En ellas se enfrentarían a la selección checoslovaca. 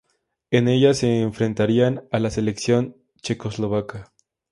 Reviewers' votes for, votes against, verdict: 0, 2, rejected